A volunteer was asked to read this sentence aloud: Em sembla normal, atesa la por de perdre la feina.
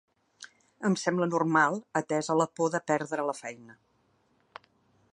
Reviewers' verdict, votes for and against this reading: accepted, 3, 0